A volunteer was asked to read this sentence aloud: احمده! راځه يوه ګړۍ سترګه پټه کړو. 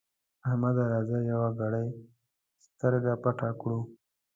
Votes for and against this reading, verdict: 2, 1, accepted